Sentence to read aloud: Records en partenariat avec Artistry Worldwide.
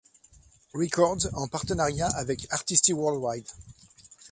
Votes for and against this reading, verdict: 1, 2, rejected